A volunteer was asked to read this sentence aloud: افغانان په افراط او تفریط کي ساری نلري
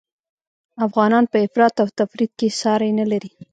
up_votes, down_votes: 2, 1